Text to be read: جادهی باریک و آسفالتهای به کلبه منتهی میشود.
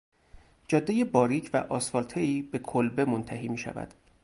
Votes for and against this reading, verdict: 2, 2, rejected